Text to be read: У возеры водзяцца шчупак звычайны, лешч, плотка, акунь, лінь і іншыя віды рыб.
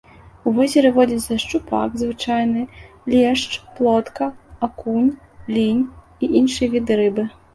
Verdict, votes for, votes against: rejected, 0, 2